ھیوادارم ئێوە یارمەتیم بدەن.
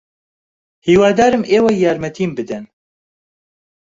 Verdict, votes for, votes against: accepted, 2, 0